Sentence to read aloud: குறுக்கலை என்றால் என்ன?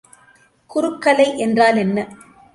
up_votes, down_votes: 2, 0